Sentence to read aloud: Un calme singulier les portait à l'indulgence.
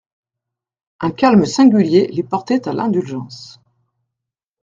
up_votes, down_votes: 2, 0